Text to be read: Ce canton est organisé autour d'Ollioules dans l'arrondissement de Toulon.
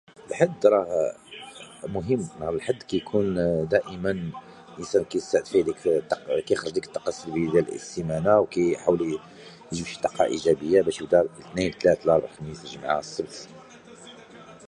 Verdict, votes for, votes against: rejected, 0, 2